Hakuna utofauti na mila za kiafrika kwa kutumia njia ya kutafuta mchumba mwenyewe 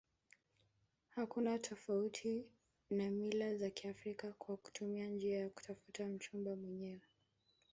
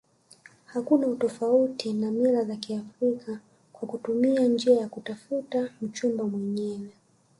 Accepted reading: second